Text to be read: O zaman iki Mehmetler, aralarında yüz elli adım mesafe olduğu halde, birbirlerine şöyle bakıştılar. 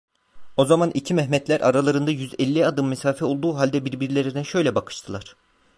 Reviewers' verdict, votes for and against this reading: accepted, 2, 1